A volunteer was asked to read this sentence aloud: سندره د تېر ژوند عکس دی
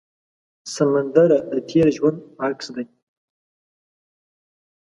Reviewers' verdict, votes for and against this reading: rejected, 0, 2